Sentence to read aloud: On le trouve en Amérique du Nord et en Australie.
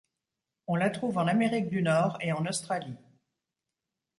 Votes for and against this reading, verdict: 0, 2, rejected